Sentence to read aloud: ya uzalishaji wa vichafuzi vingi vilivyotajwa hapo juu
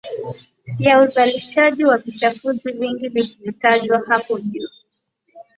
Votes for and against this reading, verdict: 4, 0, accepted